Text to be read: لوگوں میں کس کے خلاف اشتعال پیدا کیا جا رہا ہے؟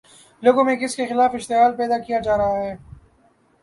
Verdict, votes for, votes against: accepted, 2, 0